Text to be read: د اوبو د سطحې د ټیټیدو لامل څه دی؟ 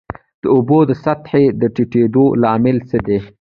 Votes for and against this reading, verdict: 0, 2, rejected